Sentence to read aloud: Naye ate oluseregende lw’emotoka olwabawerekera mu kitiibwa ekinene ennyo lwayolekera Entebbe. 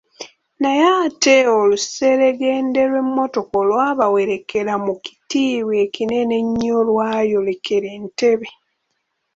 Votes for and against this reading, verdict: 2, 0, accepted